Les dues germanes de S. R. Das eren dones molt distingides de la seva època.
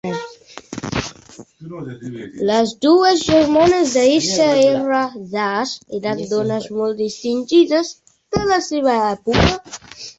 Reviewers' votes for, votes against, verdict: 0, 2, rejected